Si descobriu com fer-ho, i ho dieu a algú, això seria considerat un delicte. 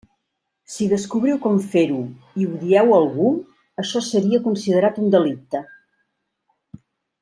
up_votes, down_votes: 2, 0